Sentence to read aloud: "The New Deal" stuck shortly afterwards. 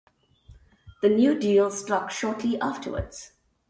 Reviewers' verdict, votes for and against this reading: accepted, 2, 0